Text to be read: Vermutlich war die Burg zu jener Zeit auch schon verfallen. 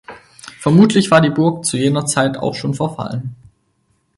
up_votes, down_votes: 4, 0